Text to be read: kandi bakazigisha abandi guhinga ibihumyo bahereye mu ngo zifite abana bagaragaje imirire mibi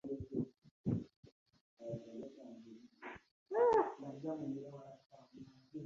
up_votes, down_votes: 1, 2